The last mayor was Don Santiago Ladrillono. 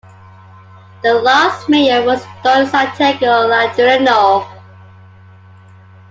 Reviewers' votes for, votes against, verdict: 2, 1, accepted